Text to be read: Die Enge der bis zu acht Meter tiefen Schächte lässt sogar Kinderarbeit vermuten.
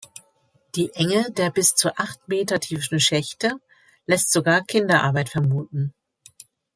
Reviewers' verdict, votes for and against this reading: accepted, 2, 0